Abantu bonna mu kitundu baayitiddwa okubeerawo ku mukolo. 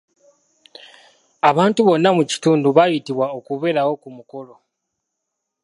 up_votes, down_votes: 2, 3